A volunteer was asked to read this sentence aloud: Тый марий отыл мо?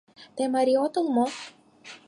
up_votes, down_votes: 4, 0